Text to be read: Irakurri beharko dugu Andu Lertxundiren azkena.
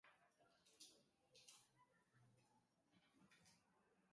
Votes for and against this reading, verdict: 0, 2, rejected